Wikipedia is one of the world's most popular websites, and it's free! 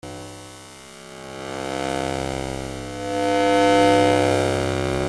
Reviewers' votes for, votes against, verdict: 0, 2, rejected